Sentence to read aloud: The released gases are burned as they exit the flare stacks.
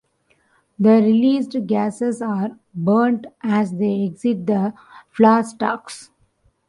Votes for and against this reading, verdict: 1, 2, rejected